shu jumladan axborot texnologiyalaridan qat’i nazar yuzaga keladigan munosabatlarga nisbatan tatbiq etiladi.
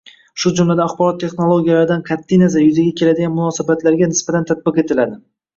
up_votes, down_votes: 1, 2